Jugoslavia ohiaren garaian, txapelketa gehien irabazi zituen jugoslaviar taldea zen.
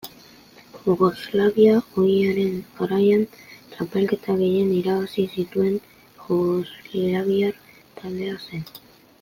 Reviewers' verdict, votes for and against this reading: accepted, 3, 0